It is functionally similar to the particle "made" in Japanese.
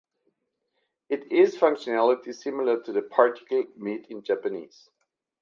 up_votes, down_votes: 2, 0